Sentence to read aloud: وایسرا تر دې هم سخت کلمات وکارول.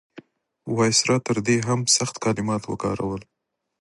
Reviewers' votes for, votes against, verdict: 1, 2, rejected